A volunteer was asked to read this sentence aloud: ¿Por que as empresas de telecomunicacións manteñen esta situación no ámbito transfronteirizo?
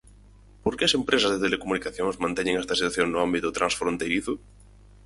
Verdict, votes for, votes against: rejected, 2, 4